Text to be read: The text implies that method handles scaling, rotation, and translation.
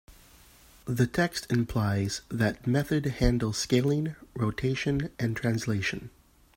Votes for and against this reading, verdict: 2, 0, accepted